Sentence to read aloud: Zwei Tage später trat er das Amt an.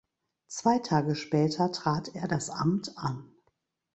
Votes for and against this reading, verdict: 2, 0, accepted